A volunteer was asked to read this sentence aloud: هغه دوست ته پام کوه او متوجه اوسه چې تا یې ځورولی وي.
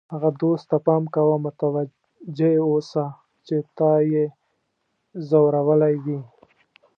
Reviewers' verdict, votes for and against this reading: rejected, 0, 2